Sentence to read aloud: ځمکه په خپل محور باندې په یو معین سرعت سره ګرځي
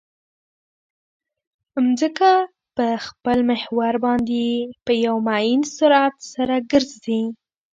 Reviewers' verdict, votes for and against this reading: rejected, 1, 2